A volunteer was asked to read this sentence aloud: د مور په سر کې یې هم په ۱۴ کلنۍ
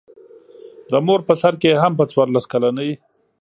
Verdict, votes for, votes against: rejected, 0, 2